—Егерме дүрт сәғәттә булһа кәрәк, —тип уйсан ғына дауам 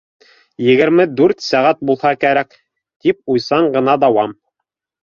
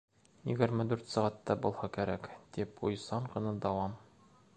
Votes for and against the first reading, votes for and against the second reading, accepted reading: 1, 2, 2, 0, second